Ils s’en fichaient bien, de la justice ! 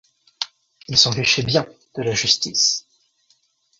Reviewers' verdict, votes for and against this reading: accepted, 2, 1